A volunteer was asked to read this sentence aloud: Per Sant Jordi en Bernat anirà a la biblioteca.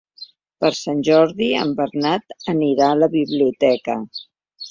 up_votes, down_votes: 1, 2